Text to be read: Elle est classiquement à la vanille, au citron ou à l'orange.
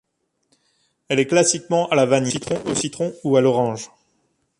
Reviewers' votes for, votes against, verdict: 1, 2, rejected